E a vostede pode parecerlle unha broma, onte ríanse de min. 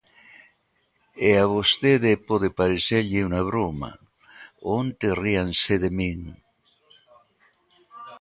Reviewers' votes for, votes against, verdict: 2, 1, accepted